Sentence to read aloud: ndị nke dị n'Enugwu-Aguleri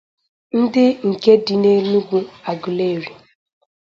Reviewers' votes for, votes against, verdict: 0, 2, rejected